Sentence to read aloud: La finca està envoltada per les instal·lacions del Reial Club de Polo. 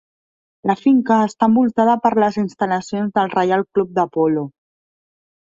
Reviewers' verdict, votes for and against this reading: accepted, 3, 0